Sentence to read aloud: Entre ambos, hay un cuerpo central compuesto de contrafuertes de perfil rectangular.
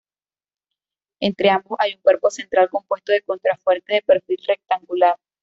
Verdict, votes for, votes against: rejected, 1, 2